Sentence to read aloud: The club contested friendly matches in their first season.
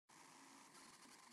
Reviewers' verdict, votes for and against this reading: rejected, 0, 2